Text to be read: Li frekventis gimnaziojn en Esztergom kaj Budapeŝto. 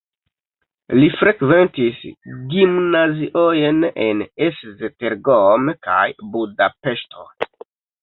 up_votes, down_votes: 2, 0